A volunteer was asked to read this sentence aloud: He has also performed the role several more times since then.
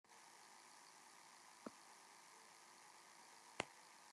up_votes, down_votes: 0, 2